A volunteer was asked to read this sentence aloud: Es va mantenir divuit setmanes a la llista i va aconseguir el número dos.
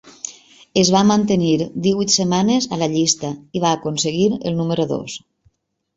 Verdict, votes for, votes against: accepted, 3, 0